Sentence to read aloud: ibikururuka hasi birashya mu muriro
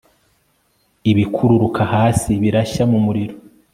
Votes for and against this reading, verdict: 2, 0, accepted